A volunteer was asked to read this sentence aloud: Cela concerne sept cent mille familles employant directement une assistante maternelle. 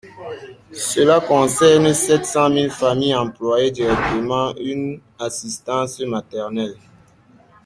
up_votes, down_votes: 0, 2